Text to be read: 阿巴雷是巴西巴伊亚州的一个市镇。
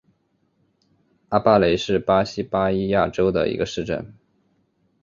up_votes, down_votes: 3, 1